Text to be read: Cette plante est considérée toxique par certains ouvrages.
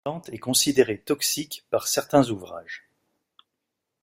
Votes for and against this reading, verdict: 1, 2, rejected